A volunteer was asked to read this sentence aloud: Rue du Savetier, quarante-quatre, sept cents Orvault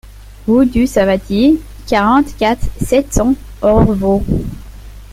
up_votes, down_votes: 1, 2